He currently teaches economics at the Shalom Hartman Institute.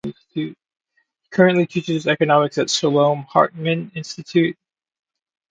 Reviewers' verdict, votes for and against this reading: rejected, 0, 2